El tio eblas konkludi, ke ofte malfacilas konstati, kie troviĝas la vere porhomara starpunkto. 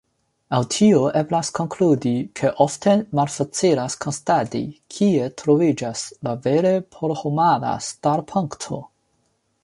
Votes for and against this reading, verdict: 1, 2, rejected